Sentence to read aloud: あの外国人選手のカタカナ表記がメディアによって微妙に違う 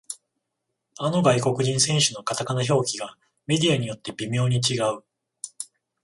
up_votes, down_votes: 14, 0